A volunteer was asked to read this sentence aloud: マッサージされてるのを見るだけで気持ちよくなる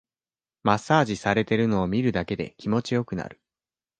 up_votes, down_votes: 2, 0